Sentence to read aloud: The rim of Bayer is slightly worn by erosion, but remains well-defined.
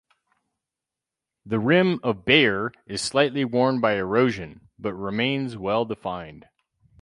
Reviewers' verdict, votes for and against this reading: accepted, 4, 0